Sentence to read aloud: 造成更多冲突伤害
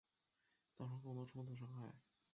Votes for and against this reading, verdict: 0, 3, rejected